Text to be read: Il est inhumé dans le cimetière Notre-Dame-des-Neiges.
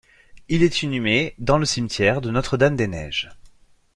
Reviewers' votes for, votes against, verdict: 1, 2, rejected